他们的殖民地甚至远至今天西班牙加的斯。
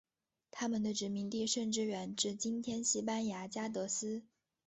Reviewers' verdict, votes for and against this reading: accepted, 2, 0